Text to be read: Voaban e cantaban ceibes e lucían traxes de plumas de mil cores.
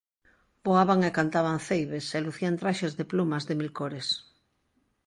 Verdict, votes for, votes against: accepted, 2, 0